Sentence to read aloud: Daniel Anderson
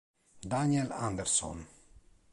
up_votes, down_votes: 2, 0